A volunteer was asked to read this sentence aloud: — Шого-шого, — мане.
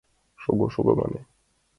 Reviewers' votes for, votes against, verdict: 2, 0, accepted